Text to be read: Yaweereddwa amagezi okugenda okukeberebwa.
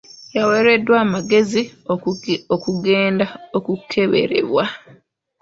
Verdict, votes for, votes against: rejected, 1, 2